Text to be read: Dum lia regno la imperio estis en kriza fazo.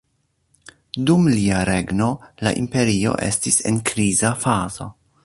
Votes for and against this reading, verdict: 0, 2, rejected